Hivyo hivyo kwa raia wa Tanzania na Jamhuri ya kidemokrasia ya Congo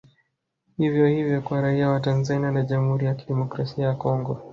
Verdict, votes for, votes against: rejected, 1, 2